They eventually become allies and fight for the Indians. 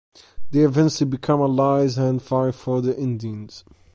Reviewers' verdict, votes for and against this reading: accepted, 2, 0